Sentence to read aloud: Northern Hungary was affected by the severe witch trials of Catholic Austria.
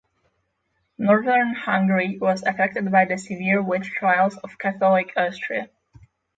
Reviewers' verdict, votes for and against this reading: accepted, 6, 0